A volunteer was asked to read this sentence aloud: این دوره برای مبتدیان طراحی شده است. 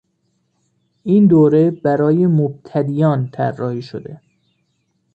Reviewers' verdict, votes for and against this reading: rejected, 1, 2